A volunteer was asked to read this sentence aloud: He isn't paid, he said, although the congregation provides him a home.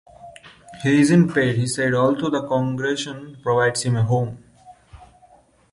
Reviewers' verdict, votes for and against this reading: rejected, 1, 2